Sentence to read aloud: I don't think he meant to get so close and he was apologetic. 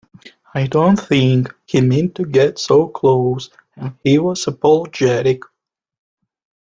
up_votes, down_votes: 2, 0